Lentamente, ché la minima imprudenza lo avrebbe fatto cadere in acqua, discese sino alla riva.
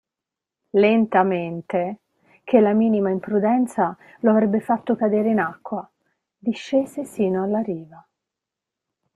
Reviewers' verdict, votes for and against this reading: accepted, 2, 0